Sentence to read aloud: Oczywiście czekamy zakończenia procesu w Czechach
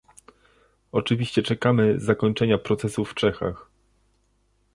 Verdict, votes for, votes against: accepted, 2, 0